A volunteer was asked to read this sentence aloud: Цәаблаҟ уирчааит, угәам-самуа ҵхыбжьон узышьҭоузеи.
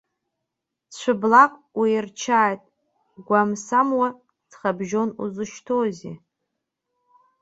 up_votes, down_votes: 2, 1